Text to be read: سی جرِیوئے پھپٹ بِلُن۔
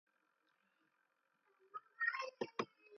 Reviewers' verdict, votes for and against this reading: rejected, 0, 2